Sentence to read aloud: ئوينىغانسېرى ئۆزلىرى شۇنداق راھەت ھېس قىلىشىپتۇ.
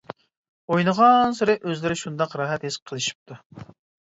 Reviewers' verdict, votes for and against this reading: accepted, 2, 0